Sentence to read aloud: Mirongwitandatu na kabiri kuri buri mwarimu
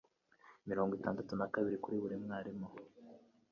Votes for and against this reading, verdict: 0, 2, rejected